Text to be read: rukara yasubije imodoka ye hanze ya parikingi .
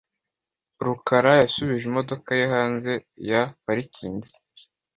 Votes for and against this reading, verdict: 2, 1, accepted